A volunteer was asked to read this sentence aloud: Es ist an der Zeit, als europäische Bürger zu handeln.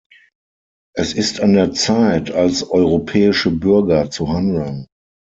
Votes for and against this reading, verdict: 6, 0, accepted